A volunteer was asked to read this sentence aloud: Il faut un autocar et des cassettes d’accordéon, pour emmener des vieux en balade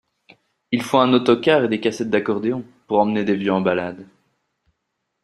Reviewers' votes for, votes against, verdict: 2, 0, accepted